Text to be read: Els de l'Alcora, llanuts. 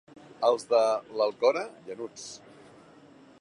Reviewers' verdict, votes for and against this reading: accepted, 2, 0